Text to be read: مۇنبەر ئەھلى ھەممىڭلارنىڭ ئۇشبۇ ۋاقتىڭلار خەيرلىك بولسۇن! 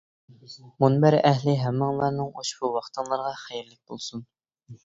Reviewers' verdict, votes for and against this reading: rejected, 0, 2